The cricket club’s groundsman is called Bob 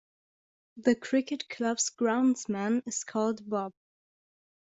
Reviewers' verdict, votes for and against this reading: accepted, 2, 0